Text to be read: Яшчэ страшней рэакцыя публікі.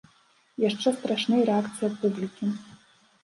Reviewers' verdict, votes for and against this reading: accepted, 3, 0